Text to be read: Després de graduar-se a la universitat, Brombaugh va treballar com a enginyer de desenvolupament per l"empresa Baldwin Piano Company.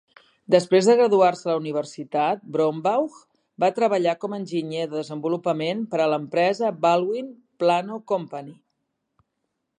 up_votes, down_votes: 0, 2